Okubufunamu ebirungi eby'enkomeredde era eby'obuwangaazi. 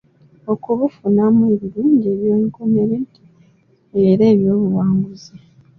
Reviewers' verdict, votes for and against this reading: accepted, 2, 0